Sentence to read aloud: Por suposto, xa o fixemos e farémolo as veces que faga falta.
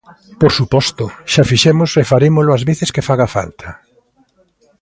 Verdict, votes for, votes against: accepted, 2, 0